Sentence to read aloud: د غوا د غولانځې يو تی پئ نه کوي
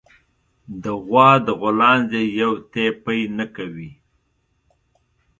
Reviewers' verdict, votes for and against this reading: accepted, 2, 0